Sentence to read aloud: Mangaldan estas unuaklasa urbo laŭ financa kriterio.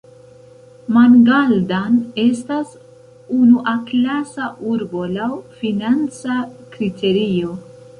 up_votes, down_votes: 0, 2